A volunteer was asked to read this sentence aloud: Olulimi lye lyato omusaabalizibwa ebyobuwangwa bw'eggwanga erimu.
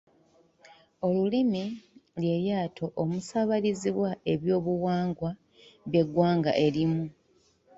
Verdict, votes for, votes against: accepted, 3, 1